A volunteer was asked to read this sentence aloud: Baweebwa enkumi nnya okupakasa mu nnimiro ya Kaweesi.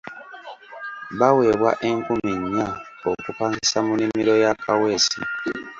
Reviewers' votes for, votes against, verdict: 0, 2, rejected